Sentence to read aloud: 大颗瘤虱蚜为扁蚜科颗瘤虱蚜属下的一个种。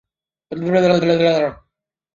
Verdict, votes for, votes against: rejected, 0, 3